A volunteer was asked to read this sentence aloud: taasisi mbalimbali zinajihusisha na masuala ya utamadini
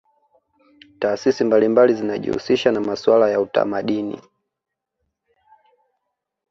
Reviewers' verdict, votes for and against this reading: accepted, 2, 1